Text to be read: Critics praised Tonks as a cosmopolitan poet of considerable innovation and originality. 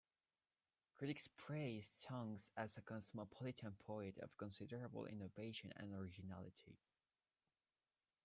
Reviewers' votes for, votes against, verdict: 2, 0, accepted